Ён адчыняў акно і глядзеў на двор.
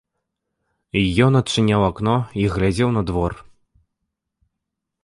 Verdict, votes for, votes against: accepted, 2, 0